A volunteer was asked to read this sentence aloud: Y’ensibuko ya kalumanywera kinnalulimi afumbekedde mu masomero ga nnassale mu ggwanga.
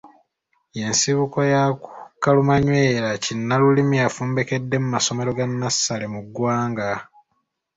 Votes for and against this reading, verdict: 2, 0, accepted